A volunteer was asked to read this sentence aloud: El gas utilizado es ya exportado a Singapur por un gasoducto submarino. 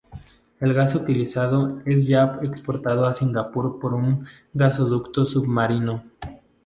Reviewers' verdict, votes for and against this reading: rejected, 0, 2